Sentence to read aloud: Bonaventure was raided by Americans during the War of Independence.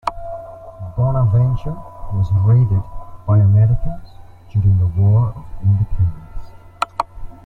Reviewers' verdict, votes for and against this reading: accepted, 2, 0